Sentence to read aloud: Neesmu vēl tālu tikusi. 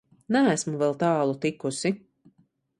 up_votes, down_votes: 2, 0